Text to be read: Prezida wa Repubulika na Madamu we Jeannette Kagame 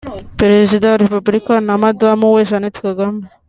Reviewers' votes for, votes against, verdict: 2, 1, accepted